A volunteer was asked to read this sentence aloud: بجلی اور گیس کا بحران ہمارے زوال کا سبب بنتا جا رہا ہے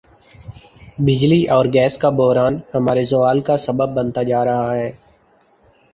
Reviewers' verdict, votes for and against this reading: rejected, 0, 2